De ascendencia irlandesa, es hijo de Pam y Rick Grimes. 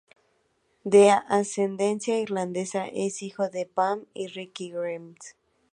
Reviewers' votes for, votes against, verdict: 2, 2, rejected